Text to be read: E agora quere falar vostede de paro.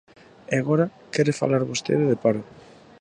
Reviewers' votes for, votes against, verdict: 2, 0, accepted